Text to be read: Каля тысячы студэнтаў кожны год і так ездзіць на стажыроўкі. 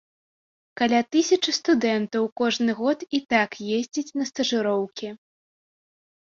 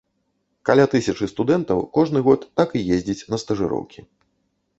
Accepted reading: first